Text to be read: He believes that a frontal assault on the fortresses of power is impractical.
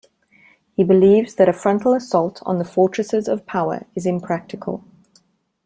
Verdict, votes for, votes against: accepted, 2, 0